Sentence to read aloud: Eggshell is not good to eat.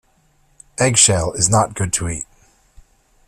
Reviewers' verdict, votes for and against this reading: accepted, 2, 0